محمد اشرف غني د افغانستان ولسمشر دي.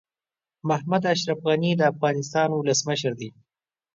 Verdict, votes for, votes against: accepted, 3, 0